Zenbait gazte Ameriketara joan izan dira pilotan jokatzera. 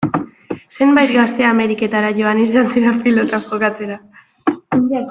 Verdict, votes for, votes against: rejected, 1, 2